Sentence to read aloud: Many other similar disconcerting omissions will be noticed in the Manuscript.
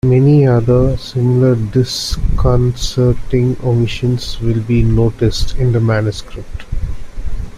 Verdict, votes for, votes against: rejected, 0, 2